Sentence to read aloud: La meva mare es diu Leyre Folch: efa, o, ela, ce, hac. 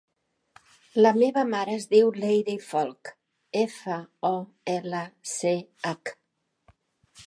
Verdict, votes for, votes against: accepted, 3, 0